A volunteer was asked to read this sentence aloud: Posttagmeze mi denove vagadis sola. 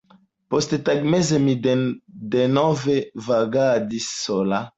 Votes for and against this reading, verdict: 1, 2, rejected